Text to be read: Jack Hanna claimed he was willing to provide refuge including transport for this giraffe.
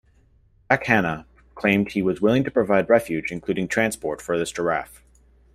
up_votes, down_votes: 1, 2